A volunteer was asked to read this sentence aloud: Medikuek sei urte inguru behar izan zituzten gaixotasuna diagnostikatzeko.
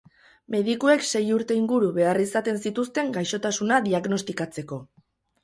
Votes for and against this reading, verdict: 2, 4, rejected